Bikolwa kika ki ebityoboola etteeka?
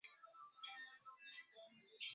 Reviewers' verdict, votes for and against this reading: rejected, 0, 2